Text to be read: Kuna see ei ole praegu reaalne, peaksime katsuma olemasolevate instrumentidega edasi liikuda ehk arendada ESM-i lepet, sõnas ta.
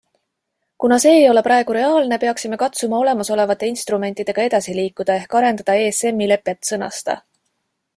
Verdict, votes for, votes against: accepted, 2, 0